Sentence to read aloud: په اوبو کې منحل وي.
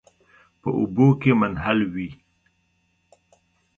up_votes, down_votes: 2, 0